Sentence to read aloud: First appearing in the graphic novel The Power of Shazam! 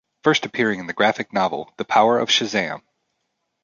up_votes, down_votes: 3, 0